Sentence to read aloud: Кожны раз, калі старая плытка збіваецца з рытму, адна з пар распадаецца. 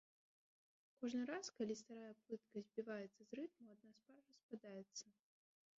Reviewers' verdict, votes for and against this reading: rejected, 1, 2